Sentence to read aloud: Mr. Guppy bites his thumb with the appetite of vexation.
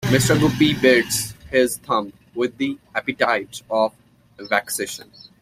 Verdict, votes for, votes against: rejected, 1, 2